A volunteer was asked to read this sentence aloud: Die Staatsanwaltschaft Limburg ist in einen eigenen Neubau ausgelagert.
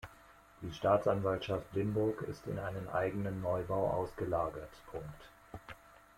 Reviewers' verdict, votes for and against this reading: accepted, 2, 1